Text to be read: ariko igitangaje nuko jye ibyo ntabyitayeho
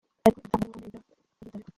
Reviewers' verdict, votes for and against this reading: rejected, 0, 2